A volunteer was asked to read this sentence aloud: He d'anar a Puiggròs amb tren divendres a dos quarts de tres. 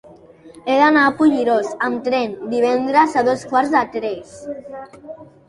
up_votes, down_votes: 0, 2